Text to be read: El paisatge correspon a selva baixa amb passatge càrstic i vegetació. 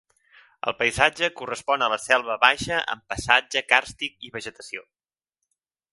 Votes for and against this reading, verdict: 2, 3, rejected